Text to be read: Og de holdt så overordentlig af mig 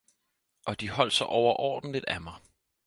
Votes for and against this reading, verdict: 4, 0, accepted